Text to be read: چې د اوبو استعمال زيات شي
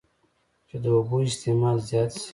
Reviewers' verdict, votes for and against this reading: accepted, 2, 0